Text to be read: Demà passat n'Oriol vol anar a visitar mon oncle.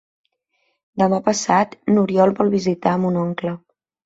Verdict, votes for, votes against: rejected, 1, 3